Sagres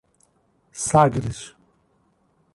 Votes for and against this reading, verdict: 2, 0, accepted